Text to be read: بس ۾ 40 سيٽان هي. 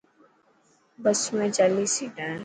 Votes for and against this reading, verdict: 0, 2, rejected